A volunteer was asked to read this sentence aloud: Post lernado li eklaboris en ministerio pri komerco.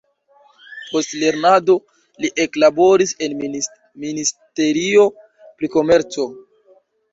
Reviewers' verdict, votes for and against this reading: rejected, 1, 2